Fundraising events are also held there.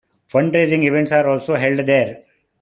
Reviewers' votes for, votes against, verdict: 2, 1, accepted